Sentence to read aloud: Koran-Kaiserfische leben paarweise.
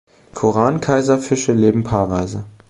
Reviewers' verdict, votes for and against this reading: accepted, 2, 0